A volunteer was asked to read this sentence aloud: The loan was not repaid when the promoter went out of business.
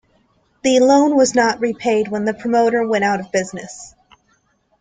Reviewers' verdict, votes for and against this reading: accepted, 2, 0